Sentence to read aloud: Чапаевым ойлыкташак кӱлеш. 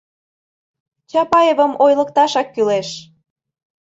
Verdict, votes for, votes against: accepted, 2, 0